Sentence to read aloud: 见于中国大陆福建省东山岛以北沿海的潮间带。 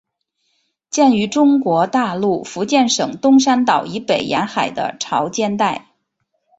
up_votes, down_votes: 2, 0